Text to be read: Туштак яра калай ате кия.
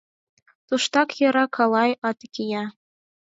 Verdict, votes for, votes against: accepted, 4, 0